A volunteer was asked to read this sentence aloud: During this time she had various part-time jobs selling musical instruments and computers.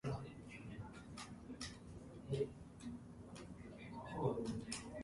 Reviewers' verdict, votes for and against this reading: rejected, 0, 2